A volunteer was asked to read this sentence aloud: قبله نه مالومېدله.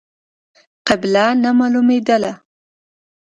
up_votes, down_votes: 1, 2